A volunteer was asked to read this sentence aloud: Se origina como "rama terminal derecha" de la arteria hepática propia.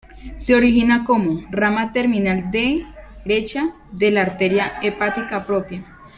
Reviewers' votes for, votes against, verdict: 0, 2, rejected